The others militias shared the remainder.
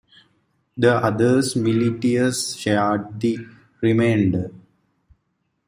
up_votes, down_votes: 0, 2